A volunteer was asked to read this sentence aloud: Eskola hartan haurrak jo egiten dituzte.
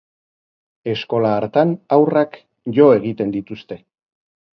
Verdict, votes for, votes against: accepted, 2, 0